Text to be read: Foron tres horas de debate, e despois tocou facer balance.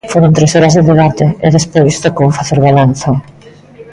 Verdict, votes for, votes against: rejected, 0, 2